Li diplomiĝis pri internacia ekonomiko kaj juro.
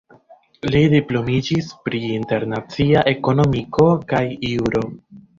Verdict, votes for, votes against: rejected, 1, 2